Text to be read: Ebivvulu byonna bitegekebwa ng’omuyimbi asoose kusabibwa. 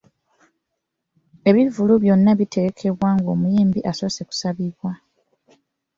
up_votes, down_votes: 2, 0